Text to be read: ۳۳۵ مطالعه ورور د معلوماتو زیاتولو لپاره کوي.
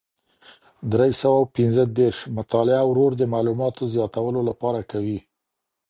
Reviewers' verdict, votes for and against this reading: rejected, 0, 2